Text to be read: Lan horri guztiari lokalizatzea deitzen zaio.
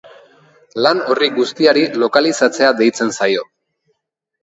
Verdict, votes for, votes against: rejected, 1, 2